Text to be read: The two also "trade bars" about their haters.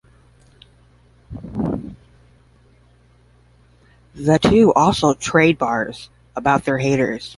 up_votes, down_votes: 10, 0